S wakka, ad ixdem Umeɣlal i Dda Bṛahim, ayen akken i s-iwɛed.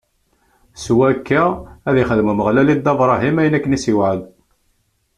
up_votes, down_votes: 2, 0